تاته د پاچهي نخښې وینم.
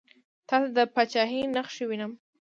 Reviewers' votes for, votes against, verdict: 0, 2, rejected